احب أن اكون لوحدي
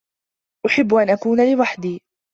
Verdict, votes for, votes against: accepted, 2, 0